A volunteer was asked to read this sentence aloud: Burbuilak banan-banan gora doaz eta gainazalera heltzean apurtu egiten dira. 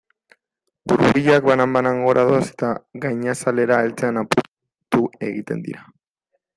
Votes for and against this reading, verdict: 0, 2, rejected